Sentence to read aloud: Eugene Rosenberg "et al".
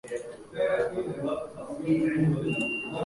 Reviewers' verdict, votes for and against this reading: rejected, 0, 2